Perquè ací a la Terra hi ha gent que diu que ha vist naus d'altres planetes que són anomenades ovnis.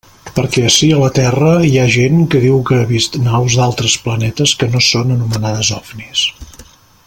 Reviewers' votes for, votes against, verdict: 0, 2, rejected